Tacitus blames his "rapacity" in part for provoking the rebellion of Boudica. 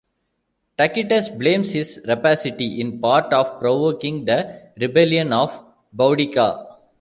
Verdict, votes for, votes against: rejected, 0, 2